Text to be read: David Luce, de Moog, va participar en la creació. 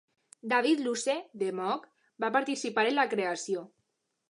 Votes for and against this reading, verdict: 2, 0, accepted